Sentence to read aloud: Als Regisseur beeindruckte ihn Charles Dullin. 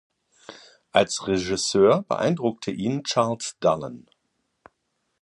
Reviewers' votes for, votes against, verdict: 2, 0, accepted